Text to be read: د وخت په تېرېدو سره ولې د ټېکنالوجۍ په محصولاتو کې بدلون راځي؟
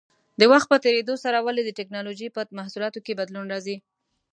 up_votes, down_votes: 2, 0